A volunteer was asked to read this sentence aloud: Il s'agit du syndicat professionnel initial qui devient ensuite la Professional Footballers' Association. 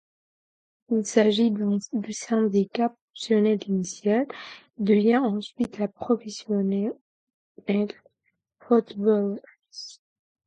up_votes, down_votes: 0, 4